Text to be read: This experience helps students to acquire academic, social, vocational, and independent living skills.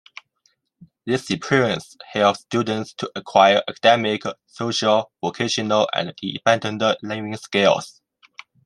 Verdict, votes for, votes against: rejected, 0, 2